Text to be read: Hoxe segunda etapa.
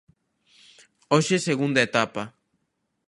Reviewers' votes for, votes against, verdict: 2, 0, accepted